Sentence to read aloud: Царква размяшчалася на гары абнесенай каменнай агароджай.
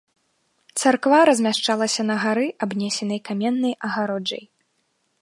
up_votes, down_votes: 2, 0